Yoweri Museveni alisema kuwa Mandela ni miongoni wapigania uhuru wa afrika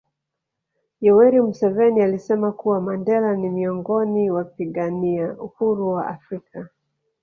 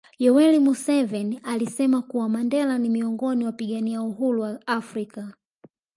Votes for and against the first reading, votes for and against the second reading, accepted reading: 1, 2, 2, 0, second